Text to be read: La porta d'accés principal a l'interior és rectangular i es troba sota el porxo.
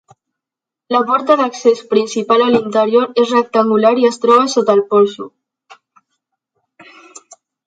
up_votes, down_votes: 3, 1